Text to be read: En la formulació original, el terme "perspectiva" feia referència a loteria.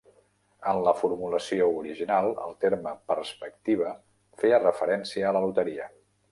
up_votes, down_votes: 1, 2